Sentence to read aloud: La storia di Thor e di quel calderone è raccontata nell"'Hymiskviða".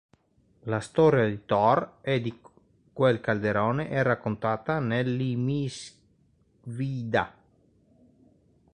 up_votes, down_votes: 1, 2